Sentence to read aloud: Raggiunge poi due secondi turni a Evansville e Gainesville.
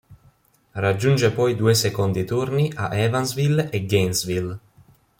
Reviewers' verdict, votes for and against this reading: accepted, 3, 0